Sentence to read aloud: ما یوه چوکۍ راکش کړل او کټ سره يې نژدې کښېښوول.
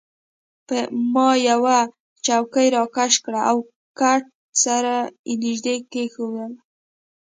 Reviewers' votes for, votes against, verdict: 2, 1, accepted